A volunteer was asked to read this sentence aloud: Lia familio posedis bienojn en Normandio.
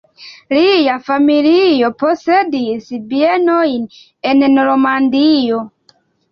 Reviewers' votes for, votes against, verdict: 2, 1, accepted